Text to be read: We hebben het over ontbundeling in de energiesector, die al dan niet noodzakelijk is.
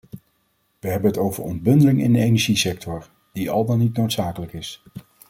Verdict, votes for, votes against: accepted, 2, 0